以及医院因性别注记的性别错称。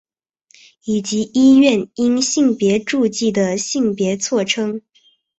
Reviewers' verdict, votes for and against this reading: accepted, 2, 0